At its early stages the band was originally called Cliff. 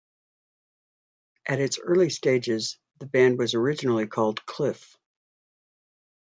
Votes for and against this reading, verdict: 2, 0, accepted